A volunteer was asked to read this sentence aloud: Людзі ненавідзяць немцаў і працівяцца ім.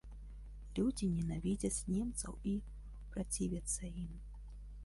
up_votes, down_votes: 0, 2